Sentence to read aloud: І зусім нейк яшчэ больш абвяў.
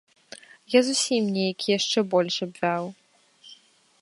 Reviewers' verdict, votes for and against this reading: rejected, 1, 2